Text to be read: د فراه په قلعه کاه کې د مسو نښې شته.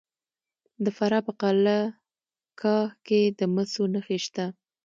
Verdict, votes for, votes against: accepted, 2, 1